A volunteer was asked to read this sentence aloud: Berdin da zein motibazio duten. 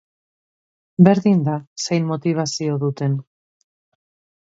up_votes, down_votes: 2, 0